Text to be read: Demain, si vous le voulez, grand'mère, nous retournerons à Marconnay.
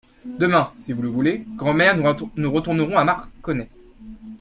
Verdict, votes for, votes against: rejected, 0, 2